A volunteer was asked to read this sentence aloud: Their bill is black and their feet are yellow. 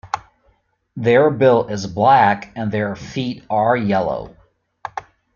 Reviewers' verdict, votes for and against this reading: accepted, 2, 0